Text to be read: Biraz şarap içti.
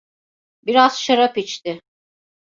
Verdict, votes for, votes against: accepted, 2, 0